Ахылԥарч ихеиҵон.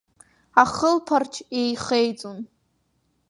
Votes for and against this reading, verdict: 3, 0, accepted